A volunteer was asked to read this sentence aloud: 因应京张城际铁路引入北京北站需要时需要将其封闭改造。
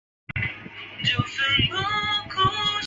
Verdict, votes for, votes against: rejected, 0, 4